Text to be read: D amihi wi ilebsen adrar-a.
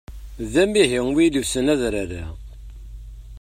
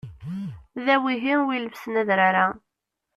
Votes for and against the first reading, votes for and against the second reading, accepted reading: 2, 0, 0, 2, first